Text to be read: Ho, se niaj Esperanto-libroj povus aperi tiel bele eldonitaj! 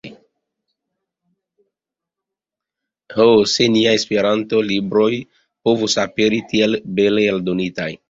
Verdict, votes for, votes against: rejected, 0, 2